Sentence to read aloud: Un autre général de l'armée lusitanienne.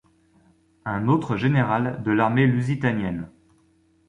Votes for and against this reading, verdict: 2, 0, accepted